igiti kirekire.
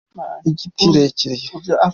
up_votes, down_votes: 0, 2